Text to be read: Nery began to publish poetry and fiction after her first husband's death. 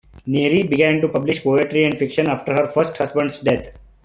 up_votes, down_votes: 2, 0